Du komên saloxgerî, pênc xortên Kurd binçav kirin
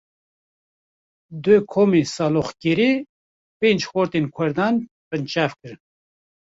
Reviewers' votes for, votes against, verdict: 0, 2, rejected